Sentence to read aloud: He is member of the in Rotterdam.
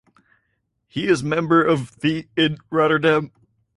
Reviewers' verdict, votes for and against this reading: accepted, 4, 0